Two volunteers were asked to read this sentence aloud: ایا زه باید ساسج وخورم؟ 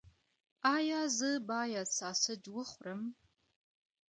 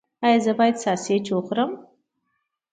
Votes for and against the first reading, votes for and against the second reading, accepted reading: 1, 2, 2, 0, second